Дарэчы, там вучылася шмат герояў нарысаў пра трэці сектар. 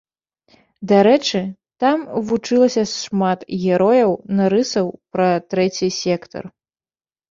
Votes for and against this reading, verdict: 0, 2, rejected